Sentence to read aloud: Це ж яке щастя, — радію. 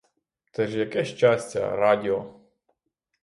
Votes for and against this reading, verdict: 0, 6, rejected